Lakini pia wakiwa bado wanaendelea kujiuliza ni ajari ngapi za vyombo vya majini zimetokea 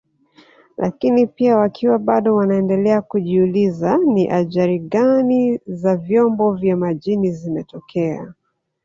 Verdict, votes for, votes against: rejected, 1, 2